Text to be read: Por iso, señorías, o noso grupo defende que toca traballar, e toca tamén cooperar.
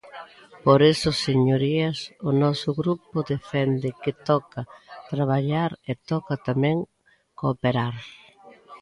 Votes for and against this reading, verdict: 0, 2, rejected